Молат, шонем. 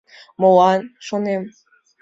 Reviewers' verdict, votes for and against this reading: accepted, 2, 1